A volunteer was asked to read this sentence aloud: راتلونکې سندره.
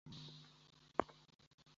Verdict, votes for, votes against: rejected, 0, 2